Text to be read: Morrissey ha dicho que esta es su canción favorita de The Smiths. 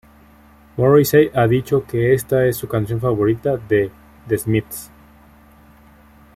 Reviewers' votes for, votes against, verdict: 2, 0, accepted